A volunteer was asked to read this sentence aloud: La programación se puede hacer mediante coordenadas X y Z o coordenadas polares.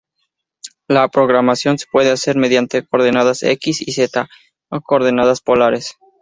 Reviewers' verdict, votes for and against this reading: accepted, 2, 0